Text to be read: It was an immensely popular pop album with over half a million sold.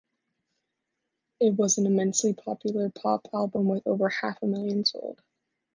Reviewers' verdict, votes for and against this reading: accepted, 2, 0